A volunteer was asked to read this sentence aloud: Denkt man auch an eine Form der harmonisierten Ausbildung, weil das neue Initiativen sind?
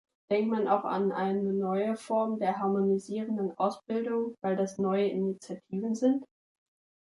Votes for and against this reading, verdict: 0, 2, rejected